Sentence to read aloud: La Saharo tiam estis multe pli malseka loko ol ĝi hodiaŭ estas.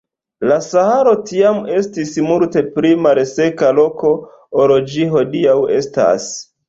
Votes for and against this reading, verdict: 2, 0, accepted